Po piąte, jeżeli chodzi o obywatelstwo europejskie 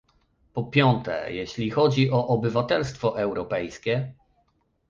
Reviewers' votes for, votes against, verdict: 1, 2, rejected